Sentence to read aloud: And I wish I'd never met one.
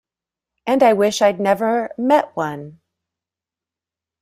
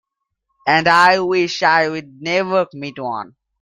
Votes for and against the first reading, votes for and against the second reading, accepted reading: 2, 0, 1, 2, first